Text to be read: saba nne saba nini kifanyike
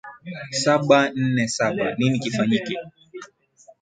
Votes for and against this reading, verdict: 7, 1, accepted